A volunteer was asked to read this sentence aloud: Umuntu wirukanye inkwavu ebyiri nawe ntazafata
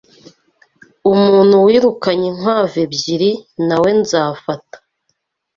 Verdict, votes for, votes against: rejected, 1, 2